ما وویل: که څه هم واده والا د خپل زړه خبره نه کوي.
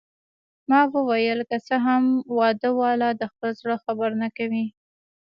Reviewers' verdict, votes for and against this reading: accepted, 2, 0